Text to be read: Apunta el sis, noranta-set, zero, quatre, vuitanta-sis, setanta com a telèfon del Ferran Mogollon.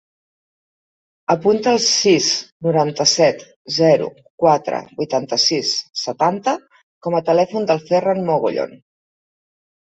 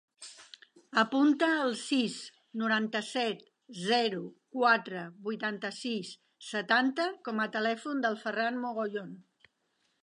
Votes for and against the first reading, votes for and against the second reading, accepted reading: 1, 2, 5, 0, second